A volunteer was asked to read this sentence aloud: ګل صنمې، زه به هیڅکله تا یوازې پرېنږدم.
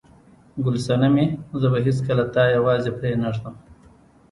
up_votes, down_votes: 1, 2